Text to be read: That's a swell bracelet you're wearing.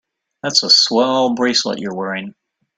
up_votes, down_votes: 2, 0